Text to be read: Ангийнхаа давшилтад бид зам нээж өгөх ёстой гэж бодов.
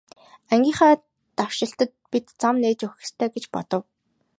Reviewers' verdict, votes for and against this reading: accepted, 2, 0